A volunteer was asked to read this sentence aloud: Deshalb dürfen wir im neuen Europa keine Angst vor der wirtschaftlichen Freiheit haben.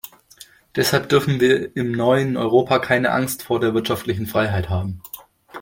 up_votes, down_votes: 2, 0